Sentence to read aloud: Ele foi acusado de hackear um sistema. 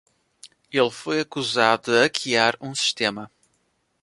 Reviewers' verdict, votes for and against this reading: rejected, 1, 2